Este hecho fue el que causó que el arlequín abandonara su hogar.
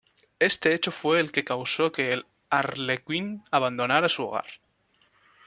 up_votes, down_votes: 1, 2